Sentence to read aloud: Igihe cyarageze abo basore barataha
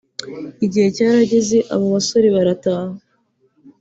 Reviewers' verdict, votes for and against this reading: accepted, 2, 0